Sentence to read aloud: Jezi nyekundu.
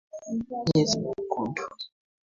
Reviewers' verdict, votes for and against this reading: accepted, 2, 0